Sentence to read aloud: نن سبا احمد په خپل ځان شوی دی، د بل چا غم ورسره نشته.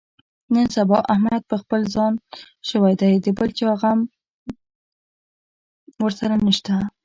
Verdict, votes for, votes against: rejected, 0, 2